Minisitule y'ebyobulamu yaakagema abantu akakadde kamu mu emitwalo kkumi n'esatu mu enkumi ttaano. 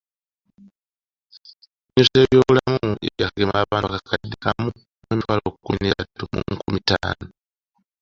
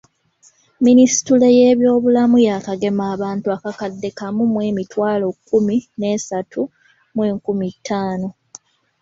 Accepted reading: second